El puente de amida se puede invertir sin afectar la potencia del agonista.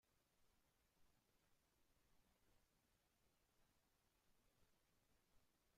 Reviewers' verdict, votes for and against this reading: rejected, 0, 2